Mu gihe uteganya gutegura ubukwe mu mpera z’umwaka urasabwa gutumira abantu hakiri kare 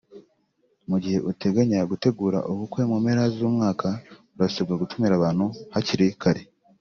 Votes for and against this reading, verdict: 3, 0, accepted